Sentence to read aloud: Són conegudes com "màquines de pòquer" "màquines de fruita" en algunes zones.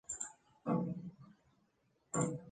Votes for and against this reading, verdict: 0, 2, rejected